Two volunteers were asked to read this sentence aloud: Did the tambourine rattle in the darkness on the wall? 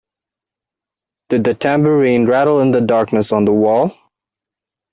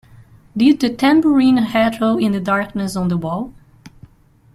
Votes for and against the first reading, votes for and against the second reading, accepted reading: 2, 0, 0, 2, first